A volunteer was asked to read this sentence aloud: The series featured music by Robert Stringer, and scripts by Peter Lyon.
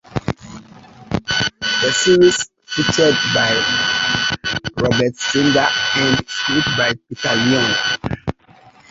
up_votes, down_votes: 0, 3